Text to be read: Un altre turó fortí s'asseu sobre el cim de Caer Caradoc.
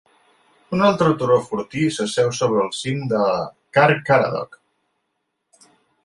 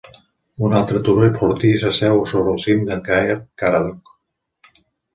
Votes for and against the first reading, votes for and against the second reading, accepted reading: 2, 1, 1, 2, first